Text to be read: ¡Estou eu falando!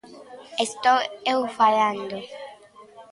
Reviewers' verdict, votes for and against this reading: accepted, 2, 0